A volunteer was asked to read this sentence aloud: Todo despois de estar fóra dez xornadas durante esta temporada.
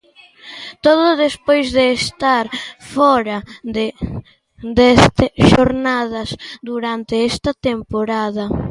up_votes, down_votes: 0, 2